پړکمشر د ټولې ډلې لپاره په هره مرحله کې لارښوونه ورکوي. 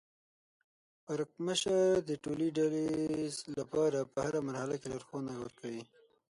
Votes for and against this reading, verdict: 6, 9, rejected